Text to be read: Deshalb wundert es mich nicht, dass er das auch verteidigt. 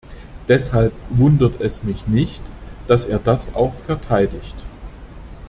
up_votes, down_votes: 2, 0